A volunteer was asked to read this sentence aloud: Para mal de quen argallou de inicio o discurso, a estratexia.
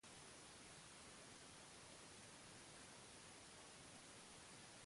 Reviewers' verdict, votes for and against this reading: rejected, 0, 2